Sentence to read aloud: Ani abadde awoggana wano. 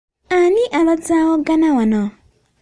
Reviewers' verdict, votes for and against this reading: rejected, 0, 2